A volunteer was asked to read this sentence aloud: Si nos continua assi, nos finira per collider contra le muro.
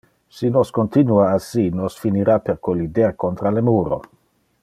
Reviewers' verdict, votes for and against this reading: accepted, 2, 0